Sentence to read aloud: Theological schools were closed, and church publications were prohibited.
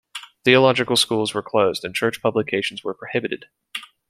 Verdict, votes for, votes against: accepted, 3, 0